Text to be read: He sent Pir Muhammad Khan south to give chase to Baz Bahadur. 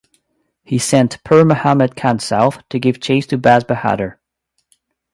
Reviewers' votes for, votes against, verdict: 2, 0, accepted